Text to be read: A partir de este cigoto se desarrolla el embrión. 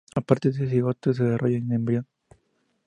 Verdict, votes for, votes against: rejected, 0, 2